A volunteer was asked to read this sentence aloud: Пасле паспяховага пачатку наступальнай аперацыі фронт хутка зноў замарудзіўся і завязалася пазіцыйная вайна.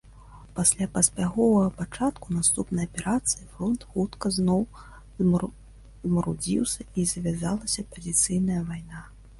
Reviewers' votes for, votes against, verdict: 1, 2, rejected